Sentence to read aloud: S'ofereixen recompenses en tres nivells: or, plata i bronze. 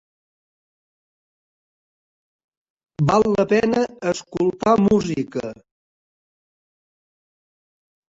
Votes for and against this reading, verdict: 0, 2, rejected